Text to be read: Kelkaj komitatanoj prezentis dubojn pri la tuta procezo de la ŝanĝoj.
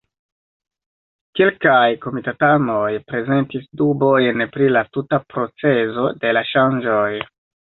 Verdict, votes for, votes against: accepted, 2, 1